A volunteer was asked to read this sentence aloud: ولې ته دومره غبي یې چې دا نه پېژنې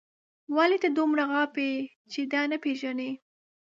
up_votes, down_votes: 0, 2